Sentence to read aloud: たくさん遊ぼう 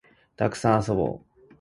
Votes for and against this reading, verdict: 2, 0, accepted